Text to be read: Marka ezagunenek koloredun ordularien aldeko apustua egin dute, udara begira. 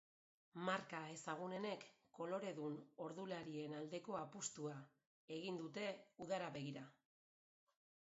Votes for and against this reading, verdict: 1, 2, rejected